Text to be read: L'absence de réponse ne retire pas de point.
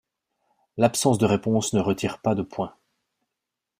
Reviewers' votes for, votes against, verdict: 2, 0, accepted